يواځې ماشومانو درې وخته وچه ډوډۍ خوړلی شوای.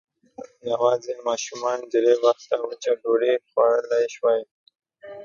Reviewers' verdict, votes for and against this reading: accepted, 6, 3